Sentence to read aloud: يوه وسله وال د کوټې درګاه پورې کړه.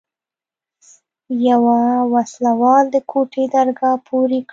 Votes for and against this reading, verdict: 2, 0, accepted